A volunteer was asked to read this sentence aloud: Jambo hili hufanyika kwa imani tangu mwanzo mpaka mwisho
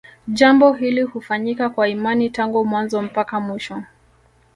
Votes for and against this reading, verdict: 2, 0, accepted